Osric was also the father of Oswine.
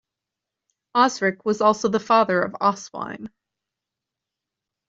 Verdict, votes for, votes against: accepted, 2, 0